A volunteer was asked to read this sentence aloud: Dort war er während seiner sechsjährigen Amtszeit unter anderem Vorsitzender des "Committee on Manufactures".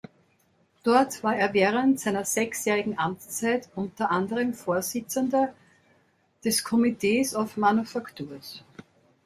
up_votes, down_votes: 0, 2